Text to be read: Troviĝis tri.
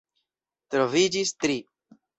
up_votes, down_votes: 2, 0